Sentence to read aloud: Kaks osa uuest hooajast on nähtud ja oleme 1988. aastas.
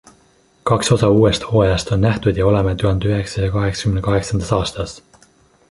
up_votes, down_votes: 0, 2